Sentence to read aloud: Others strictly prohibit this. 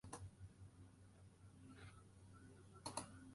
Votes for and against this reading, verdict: 0, 2, rejected